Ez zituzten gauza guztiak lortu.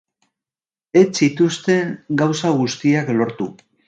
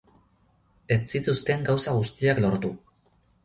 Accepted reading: second